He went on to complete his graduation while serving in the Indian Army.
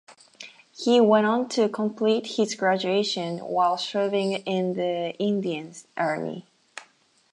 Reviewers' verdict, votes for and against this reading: accepted, 4, 0